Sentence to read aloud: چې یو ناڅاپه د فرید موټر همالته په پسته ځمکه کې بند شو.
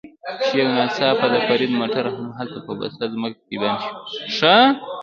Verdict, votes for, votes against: accepted, 2, 0